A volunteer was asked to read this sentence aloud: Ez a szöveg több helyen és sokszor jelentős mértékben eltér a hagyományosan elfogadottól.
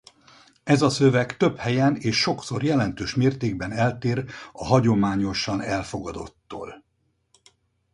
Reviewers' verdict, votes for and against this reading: accepted, 4, 0